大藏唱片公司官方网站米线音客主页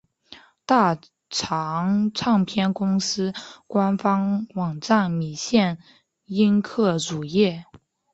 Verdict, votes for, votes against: accepted, 3, 0